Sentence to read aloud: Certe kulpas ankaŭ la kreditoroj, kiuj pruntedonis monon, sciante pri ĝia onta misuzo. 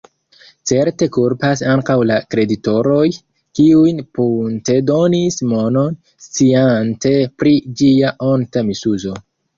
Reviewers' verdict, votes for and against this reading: rejected, 1, 2